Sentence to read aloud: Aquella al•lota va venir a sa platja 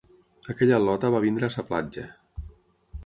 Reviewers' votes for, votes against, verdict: 3, 6, rejected